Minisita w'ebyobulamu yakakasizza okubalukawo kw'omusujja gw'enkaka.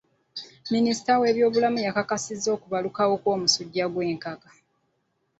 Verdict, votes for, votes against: accepted, 2, 1